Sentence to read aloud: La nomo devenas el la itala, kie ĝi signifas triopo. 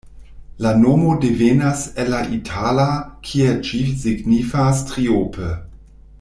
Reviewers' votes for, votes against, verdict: 0, 2, rejected